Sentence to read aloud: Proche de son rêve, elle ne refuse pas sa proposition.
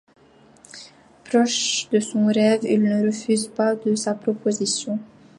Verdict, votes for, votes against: rejected, 0, 2